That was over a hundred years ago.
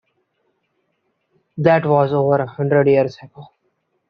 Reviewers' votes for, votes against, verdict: 2, 1, accepted